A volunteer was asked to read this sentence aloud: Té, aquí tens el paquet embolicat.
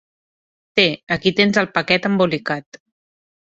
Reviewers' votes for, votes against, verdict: 3, 0, accepted